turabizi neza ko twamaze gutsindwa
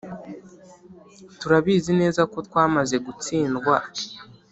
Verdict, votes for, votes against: accepted, 2, 0